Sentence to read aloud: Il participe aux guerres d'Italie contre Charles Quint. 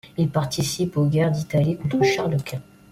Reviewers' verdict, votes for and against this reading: rejected, 1, 2